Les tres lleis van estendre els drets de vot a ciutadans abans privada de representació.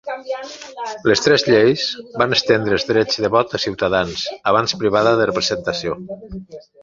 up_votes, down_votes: 1, 2